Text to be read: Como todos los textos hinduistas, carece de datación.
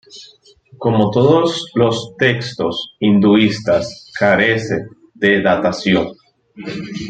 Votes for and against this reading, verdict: 1, 2, rejected